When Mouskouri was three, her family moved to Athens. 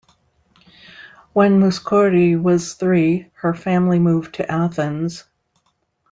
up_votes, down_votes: 2, 1